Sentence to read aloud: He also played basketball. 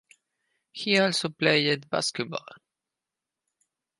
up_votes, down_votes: 4, 2